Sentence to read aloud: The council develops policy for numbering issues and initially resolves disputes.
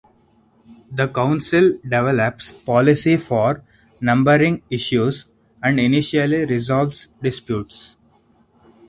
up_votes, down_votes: 4, 0